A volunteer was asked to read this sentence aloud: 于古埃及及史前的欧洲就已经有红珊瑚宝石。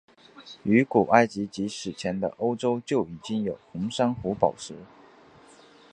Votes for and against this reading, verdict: 1, 2, rejected